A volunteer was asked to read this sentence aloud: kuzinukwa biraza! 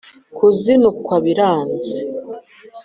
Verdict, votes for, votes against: rejected, 0, 2